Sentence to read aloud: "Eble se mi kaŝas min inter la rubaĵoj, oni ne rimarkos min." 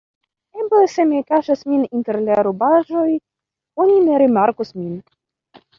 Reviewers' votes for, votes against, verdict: 2, 1, accepted